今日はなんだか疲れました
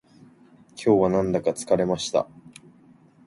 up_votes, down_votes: 4, 0